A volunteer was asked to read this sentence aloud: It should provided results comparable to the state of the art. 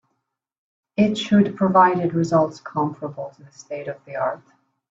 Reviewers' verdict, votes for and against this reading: accepted, 2, 0